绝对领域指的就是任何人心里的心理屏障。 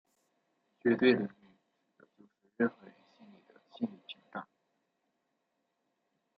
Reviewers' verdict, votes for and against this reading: rejected, 0, 2